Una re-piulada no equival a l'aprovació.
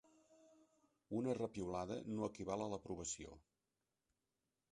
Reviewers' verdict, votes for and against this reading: accepted, 2, 0